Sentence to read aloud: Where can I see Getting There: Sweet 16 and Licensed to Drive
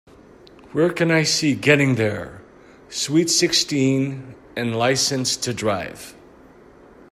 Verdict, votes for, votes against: rejected, 0, 2